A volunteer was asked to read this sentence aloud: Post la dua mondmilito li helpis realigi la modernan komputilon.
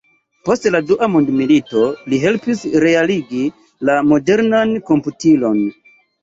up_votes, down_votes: 2, 0